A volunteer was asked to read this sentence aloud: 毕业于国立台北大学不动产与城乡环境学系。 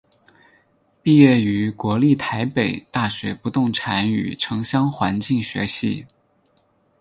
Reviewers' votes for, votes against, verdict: 6, 0, accepted